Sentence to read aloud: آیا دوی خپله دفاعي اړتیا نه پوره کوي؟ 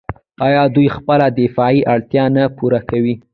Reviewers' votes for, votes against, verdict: 0, 2, rejected